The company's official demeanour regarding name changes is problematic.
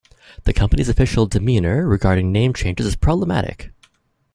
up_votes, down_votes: 2, 0